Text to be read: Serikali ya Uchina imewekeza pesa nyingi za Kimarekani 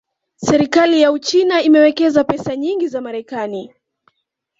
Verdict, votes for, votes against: rejected, 1, 2